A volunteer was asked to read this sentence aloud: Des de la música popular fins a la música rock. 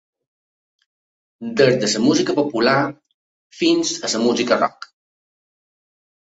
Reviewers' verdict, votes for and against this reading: accepted, 3, 0